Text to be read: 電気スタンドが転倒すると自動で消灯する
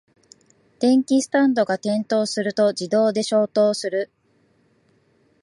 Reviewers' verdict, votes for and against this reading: accepted, 2, 0